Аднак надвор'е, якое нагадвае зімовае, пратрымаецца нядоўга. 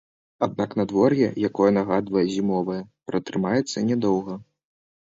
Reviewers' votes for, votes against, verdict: 2, 0, accepted